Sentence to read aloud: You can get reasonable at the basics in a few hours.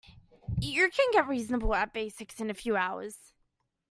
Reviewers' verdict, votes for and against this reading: accepted, 2, 0